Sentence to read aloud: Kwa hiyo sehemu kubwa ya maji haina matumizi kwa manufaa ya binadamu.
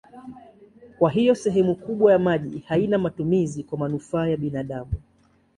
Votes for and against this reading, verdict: 2, 0, accepted